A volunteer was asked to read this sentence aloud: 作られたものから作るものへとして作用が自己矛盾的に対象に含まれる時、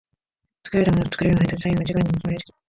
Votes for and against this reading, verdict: 1, 2, rejected